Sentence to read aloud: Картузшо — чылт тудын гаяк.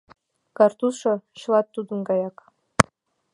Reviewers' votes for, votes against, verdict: 1, 2, rejected